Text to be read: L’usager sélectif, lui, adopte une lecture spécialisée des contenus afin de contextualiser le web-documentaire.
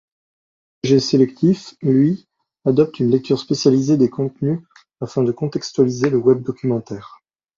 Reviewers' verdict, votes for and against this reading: rejected, 1, 2